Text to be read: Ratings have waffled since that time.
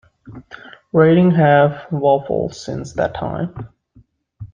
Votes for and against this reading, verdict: 1, 2, rejected